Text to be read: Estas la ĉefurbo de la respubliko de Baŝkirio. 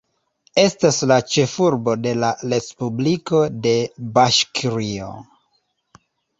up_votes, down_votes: 1, 2